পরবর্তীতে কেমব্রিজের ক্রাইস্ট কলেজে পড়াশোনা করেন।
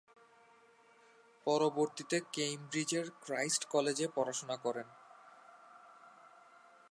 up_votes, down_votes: 1, 2